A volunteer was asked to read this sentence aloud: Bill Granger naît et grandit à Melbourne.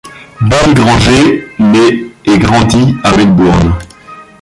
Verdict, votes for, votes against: rejected, 0, 2